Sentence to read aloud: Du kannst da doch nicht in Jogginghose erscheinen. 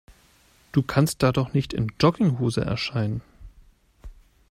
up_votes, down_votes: 2, 0